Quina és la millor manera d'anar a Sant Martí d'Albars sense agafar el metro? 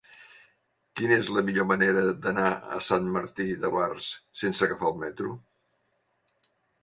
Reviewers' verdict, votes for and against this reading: rejected, 1, 2